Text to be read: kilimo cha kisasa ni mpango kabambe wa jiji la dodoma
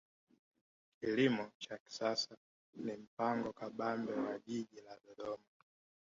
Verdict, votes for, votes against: accepted, 2, 1